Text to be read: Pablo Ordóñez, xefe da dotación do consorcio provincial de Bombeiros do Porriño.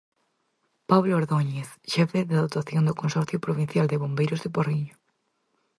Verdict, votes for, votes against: rejected, 2, 2